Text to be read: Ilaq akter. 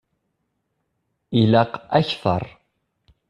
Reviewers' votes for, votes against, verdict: 2, 0, accepted